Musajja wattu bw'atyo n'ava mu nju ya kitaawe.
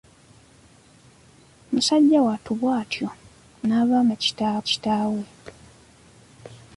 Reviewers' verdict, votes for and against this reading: rejected, 0, 2